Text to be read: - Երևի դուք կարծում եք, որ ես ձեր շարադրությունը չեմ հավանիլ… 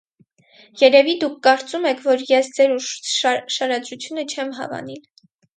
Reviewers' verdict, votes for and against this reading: rejected, 0, 4